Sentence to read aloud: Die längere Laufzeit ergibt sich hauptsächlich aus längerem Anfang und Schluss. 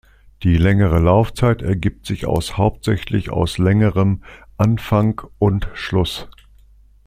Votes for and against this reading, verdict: 0, 2, rejected